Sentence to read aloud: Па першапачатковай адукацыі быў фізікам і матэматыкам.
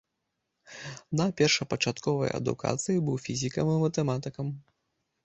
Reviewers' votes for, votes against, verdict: 0, 2, rejected